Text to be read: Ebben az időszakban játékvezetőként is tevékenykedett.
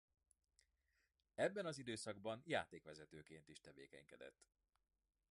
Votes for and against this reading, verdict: 2, 0, accepted